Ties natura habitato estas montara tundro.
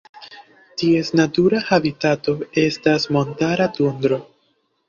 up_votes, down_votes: 2, 0